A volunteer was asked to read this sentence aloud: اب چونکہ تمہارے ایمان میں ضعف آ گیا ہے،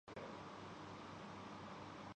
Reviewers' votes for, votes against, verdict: 1, 2, rejected